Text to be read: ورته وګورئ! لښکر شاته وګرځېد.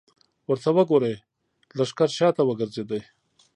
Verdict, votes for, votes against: rejected, 0, 2